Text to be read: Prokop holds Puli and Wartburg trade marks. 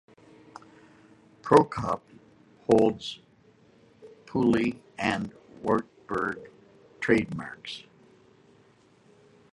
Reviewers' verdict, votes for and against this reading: rejected, 1, 2